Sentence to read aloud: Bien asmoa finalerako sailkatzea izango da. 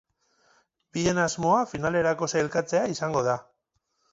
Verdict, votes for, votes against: rejected, 0, 2